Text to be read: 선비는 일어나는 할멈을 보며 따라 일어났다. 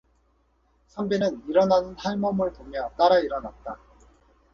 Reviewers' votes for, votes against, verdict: 4, 2, accepted